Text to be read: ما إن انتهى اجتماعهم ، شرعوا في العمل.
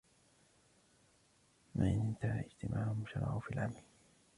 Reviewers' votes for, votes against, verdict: 0, 2, rejected